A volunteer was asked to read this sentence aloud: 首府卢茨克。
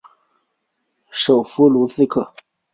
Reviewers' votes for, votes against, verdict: 2, 0, accepted